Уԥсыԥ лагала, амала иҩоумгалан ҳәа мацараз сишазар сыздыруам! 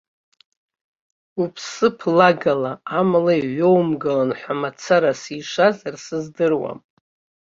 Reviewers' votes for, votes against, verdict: 2, 1, accepted